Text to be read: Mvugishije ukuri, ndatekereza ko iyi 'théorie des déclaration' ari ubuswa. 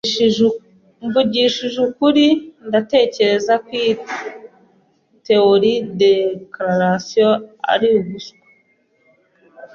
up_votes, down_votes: 0, 2